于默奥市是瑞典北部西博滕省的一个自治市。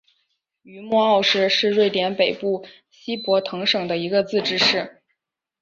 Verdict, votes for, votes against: accepted, 4, 0